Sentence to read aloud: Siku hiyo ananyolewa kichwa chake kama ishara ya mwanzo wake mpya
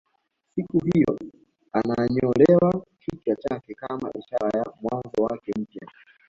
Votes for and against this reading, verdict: 1, 2, rejected